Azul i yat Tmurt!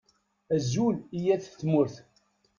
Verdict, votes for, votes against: accepted, 2, 0